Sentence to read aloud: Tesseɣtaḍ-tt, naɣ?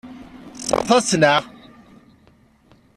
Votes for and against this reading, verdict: 1, 2, rejected